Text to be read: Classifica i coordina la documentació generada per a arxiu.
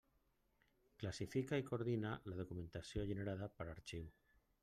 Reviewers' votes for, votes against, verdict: 2, 0, accepted